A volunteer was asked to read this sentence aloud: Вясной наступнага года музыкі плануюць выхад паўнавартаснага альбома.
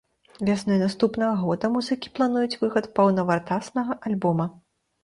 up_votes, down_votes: 1, 2